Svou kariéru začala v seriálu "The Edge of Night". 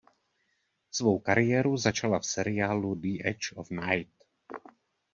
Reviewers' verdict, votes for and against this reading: accepted, 2, 0